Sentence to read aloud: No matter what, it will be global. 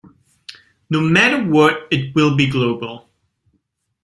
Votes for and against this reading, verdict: 2, 0, accepted